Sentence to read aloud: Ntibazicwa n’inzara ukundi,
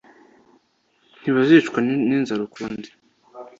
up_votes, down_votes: 2, 1